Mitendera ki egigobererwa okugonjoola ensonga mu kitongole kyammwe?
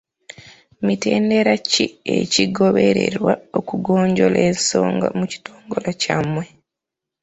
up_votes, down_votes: 2, 1